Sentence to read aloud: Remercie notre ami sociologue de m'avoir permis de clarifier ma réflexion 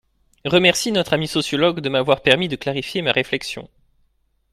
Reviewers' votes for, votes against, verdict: 2, 0, accepted